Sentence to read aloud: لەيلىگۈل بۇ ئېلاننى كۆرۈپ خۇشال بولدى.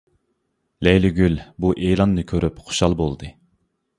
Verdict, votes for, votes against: accepted, 2, 0